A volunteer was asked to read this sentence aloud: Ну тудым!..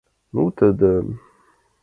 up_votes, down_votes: 0, 2